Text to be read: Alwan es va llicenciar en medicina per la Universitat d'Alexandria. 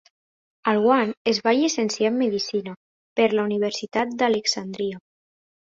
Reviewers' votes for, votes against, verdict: 3, 0, accepted